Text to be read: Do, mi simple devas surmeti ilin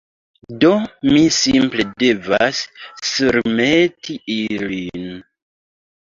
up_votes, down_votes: 2, 0